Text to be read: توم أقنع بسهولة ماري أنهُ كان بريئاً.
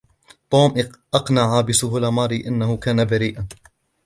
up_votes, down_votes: 2, 0